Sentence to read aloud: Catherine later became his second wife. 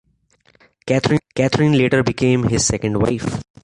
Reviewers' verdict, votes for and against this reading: accepted, 2, 0